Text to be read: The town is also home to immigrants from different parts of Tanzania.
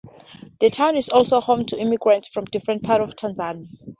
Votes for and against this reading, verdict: 2, 0, accepted